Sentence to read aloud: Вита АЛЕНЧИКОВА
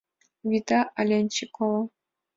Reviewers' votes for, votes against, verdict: 2, 0, accepted